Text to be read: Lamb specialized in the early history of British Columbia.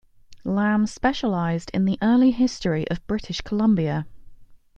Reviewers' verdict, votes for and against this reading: accepted, 2, 0